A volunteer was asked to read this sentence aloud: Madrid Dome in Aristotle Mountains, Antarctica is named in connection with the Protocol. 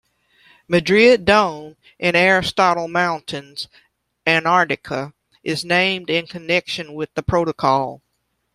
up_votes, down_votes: 2, 0